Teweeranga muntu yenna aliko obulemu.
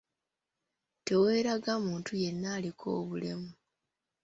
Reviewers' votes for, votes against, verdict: 0, 2, rejected